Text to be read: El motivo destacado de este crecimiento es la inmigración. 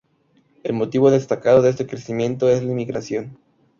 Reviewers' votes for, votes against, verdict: 0, 2, rejected